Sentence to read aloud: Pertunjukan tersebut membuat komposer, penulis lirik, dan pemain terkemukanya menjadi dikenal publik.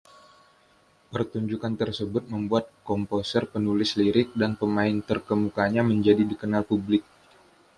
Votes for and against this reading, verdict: 1, 2, rejected